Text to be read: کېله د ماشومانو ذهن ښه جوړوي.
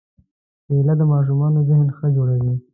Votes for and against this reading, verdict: 2, 0, accepted